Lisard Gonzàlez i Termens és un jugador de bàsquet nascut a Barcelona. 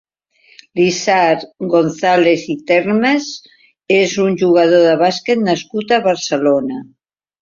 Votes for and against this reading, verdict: 0, 2, rejected